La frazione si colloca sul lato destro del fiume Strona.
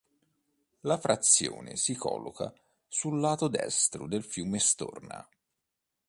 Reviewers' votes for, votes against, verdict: 1, 2, rejected